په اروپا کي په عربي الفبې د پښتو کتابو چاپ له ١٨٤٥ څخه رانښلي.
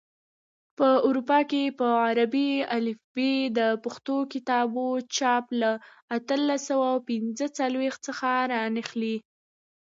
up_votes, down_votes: 0, 2